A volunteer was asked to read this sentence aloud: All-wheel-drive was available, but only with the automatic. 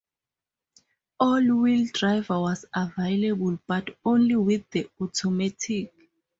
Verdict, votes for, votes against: accepted, 2, 0